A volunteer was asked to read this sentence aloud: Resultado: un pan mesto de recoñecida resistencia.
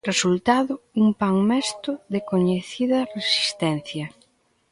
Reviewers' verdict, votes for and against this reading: rejected, 0, 2